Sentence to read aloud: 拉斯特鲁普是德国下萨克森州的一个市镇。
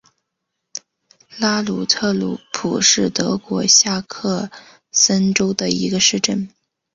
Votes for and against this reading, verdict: 0, 2, rejected